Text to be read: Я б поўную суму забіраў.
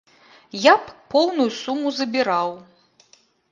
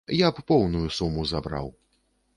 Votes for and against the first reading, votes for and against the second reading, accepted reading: 2, 0, 0, 2, first